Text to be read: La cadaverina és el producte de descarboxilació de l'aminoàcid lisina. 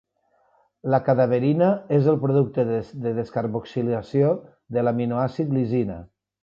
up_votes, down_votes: 1, 2